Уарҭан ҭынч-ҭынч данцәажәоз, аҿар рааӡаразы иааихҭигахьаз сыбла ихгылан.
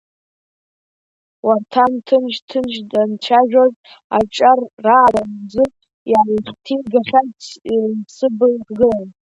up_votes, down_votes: 1, 2